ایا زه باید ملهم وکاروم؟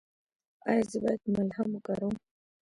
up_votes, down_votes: 1, 2